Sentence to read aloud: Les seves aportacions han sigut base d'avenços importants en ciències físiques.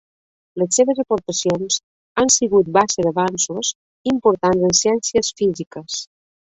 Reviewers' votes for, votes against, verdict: 1, 2, rejected